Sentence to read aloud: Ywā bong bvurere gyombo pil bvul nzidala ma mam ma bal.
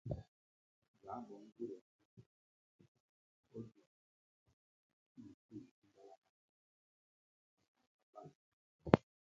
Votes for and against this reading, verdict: 0, 2, rejected